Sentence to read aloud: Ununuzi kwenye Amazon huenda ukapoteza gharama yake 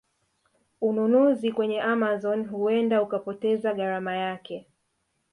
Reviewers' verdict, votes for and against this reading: rejected, 1, 2